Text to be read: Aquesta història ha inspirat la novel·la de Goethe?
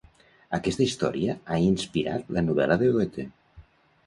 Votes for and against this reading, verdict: 0, 2, rejected